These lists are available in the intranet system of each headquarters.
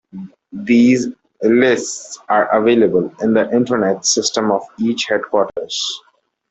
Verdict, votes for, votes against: rejected, 1, 2